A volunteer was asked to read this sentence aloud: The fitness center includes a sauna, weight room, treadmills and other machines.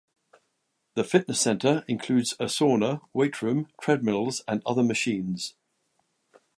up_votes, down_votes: 2, 0